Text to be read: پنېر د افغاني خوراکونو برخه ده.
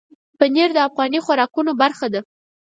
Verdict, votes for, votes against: accepted, 4, 0